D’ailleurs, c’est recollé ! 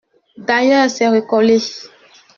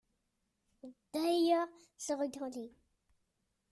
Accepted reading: first